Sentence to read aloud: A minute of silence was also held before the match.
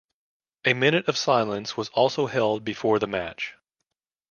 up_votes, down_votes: 2, 0